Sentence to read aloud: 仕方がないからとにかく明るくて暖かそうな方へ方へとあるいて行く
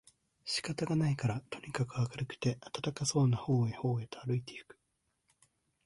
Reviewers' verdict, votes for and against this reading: accepted, 2, 0